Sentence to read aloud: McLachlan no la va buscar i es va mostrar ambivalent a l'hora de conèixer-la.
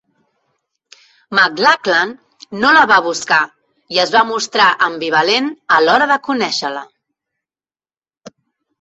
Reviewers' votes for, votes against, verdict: 4, 5, rejected